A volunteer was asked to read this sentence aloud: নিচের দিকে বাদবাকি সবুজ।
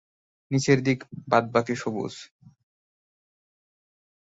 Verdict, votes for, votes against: rejected, 1, 6